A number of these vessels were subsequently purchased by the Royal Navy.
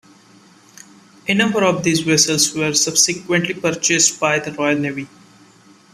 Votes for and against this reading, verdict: 2, 0, accepted